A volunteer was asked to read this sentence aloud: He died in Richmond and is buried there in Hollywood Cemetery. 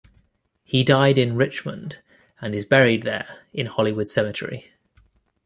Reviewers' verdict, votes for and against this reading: accepted, 2, 0